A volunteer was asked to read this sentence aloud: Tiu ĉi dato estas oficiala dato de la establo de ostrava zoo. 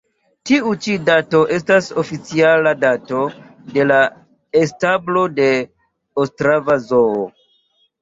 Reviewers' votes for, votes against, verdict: 2, 0, accepted